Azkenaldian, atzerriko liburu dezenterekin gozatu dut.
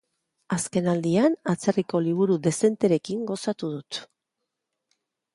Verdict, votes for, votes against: accepted, 2, 0